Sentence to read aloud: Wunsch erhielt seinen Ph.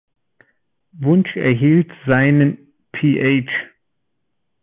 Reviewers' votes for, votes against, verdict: 2, 0, accepted